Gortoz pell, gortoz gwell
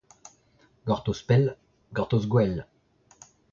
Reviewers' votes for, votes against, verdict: 1, 2, rejected